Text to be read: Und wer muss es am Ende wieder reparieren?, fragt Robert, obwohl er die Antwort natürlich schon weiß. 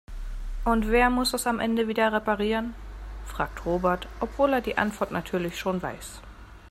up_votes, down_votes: 2, 0